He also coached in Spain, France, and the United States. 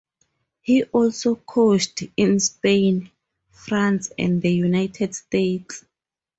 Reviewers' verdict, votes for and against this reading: accepted, 4, 0